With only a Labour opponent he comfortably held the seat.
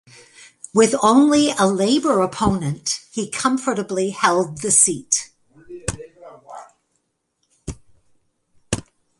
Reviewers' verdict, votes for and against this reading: accepted, 2, 0